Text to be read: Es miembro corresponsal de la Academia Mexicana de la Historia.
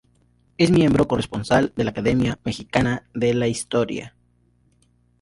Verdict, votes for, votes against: rejected, 0, 2